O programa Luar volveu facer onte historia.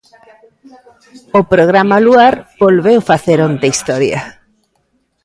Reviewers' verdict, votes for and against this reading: rejected, 0, 2